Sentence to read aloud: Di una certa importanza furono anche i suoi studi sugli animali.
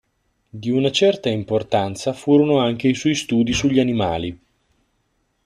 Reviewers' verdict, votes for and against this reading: accepted, 2, 0